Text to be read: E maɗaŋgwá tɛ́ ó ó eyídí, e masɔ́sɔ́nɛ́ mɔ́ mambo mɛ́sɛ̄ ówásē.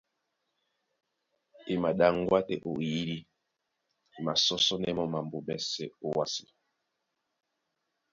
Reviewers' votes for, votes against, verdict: 2, 0, accepted